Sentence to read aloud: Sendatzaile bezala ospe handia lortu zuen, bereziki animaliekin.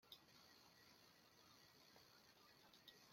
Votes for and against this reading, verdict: 0, 2, rejected